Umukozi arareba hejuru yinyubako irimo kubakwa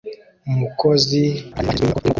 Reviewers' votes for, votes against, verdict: 0, 2, rejected